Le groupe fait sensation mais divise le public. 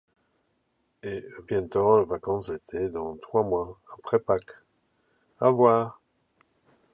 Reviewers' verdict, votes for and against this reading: rejected, 1, 2